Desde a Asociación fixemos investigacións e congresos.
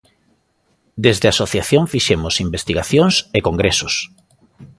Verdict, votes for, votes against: accepted, 2, 0